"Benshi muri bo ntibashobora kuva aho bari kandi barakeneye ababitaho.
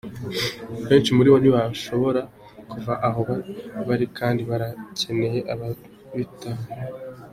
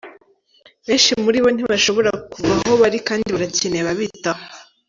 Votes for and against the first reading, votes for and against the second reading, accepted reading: 2, 1, 0, 2, first